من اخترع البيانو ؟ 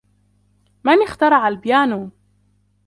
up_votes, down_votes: 2, 1